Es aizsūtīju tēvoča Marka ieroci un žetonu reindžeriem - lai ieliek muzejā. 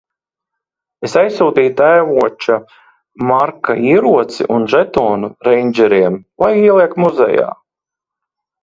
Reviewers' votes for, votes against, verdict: 2, 0, accepted